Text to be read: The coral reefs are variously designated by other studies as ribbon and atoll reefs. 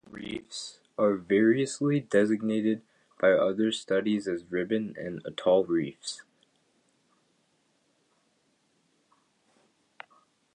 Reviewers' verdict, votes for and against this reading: rejected, 1, 2